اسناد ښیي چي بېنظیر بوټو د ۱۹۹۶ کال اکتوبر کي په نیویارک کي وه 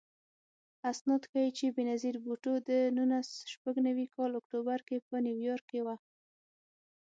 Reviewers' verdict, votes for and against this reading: rejected, 0, 2